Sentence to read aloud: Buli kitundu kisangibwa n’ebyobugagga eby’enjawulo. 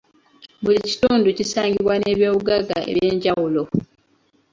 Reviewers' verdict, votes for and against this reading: rejected, 1, 2